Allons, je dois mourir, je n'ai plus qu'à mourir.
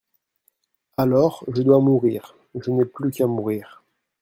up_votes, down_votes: 0, 2